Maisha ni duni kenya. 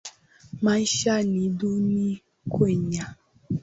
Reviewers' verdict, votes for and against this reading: rejected, 1, 2